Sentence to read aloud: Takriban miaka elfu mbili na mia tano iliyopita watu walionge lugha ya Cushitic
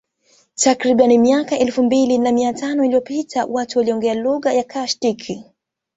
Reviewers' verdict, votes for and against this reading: accepted, 2, 0